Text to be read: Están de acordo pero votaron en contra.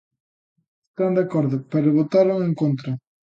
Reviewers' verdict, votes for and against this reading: rejected, 0, 2